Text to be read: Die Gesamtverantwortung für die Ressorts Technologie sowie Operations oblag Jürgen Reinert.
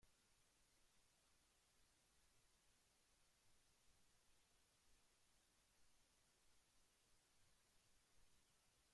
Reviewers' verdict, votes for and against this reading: rejected, 0, 2